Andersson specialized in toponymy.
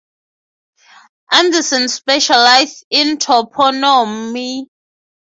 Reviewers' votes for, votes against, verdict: 3, 3, rejected